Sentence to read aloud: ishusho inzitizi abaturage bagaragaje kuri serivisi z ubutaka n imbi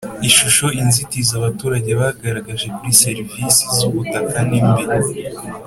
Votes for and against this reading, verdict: 4, 0, accepted